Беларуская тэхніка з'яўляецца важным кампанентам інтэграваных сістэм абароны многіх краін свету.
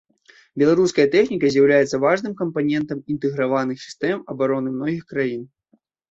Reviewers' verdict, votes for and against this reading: rejected, 0, 2